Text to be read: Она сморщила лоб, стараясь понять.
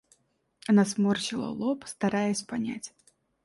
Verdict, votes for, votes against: accepted, 2, 0